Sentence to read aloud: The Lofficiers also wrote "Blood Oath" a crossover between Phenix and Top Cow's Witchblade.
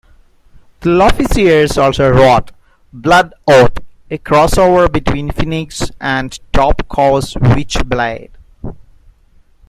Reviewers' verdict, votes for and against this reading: rejected, 0, 2